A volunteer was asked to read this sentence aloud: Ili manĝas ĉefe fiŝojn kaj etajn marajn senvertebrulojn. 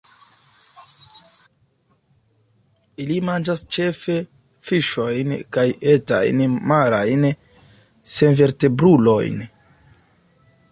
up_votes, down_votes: 2, 0